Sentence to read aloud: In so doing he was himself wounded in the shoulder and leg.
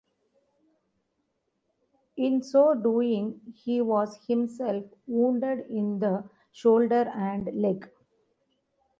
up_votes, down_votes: 2, 0